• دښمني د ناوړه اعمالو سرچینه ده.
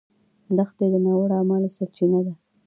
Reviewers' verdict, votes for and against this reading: accepted, 2, 0